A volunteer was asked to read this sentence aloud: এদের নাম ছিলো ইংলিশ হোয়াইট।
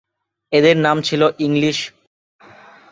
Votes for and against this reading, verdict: 0, 3, rejected